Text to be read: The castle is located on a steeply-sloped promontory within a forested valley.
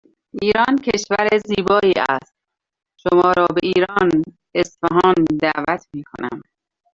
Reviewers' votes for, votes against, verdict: 0, 3, rejected